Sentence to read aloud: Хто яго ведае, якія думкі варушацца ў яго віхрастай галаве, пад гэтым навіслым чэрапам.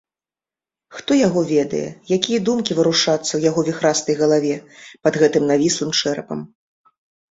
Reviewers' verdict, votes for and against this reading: accepted, 2, 0